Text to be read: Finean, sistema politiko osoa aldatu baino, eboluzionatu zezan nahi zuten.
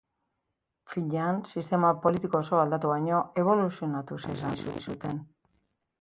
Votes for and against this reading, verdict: 0, 2, rejected